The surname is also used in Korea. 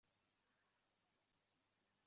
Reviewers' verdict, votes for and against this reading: rejected, 0, 2